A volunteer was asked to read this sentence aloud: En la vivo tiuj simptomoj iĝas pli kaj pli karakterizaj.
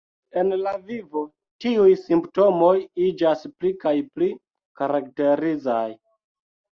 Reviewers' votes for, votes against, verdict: 2, 1, accepted